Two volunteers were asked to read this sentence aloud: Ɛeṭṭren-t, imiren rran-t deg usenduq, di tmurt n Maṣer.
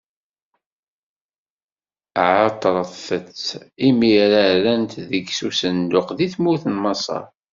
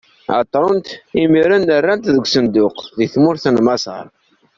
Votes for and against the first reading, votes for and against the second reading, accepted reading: 1, 2, 2, 0, second